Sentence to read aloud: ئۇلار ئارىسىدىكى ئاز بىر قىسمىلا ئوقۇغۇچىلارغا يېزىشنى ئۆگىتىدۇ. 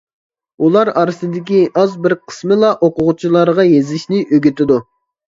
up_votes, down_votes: 2, 0